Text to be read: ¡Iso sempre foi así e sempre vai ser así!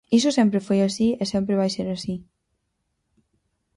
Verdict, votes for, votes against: accepted, 4, 0